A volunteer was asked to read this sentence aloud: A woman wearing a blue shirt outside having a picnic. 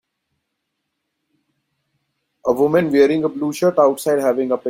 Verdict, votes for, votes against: rejected, 0, 2